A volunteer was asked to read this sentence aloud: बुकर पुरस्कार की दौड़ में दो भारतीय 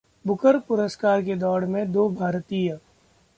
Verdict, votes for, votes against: accepted, 2, 0